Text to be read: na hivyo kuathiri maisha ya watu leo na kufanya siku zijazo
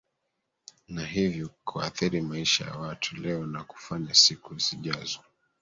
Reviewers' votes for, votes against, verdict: 2, 1, accepted